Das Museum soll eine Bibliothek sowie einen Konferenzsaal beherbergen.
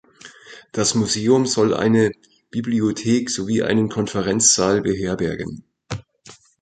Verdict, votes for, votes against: accepted, 2, 0